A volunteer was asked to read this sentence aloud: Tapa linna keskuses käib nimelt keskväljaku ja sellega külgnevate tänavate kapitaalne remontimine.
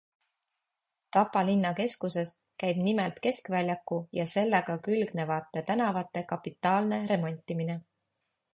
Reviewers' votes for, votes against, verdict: 2, 0, accepted